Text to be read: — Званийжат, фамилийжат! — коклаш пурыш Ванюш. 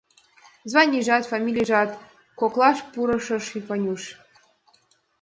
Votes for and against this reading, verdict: 2, 0, accepted